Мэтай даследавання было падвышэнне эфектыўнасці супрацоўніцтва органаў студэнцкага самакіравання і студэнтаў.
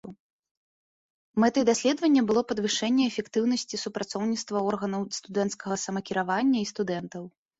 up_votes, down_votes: 2, 0